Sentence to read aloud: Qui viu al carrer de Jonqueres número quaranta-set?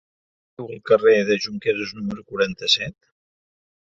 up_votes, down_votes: 1, 2